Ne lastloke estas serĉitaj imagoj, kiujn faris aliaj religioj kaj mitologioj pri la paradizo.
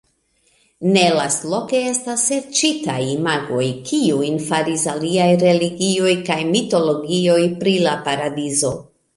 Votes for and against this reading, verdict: 2, 0, accepted